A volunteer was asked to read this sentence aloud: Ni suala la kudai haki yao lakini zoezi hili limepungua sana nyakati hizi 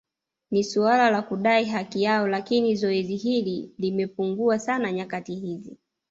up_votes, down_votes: 2, 0